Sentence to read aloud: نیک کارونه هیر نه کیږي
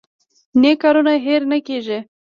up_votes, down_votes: 1, 2